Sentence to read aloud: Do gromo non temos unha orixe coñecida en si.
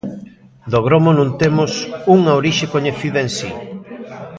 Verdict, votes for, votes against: rejected, 1, 2